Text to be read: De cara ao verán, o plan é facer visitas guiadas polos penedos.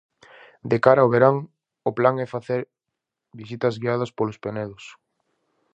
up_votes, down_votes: 4, 0